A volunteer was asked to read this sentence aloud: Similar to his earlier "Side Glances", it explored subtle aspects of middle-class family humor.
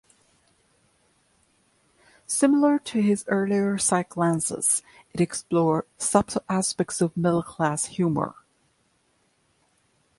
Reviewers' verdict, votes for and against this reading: rejected, 0, 2